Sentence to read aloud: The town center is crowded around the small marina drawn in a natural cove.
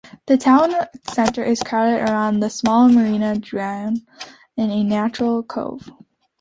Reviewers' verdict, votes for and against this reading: accepted, 2, 0